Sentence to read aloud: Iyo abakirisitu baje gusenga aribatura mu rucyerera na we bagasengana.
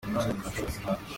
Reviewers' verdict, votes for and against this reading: rejected, 0, 2